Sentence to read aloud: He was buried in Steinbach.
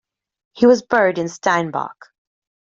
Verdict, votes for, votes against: rejected, 1, 2